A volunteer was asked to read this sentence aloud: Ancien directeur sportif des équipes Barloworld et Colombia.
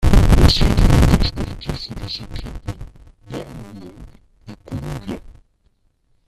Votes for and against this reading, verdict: 0, 2, rejected